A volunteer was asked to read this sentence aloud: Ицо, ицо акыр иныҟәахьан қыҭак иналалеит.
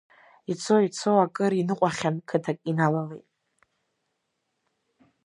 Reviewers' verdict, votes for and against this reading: accepted, 2, 0